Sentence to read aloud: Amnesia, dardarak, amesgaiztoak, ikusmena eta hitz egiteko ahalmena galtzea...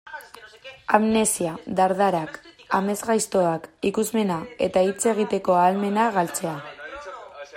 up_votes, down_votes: 0, 2